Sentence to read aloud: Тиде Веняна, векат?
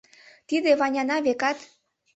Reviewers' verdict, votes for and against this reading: rejected, 1, 2